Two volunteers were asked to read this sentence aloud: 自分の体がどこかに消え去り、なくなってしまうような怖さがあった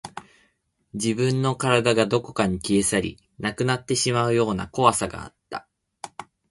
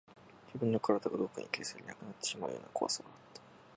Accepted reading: first